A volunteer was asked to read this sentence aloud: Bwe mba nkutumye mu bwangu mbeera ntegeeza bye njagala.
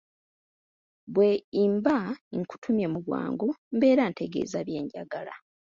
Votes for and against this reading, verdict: 0, 2, rejected